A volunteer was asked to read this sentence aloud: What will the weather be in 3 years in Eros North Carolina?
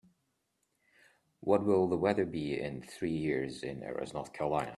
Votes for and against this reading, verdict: 0, 2, rejected